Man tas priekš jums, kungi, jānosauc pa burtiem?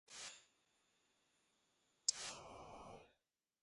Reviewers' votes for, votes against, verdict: 0, 2, rejected